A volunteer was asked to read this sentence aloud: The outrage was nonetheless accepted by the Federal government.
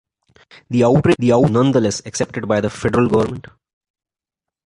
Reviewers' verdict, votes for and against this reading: rejected, 0, 2